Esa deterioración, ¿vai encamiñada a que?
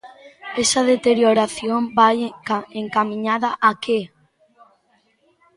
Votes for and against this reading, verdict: 0, 2, rejected